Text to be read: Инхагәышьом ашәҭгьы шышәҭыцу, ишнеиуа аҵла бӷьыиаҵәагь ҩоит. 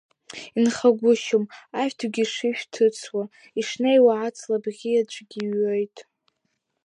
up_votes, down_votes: 1, 2